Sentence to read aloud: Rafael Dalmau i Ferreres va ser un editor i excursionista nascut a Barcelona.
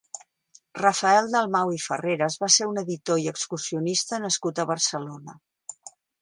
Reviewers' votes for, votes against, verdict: 2, 1, accepted